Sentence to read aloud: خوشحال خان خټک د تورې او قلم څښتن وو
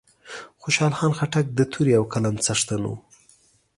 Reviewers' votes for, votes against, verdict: 2, 0, accepted